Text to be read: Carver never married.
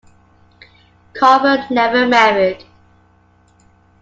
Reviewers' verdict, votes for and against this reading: accepted, 2, 0